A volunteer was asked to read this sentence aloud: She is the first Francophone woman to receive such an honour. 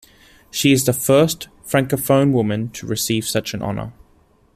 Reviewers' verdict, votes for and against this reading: accepted, 2, 0